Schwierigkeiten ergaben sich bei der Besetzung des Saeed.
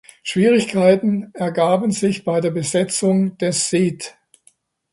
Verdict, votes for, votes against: accepted, 2, 0